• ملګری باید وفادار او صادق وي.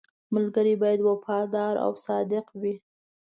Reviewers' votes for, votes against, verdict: 2, 1, accepted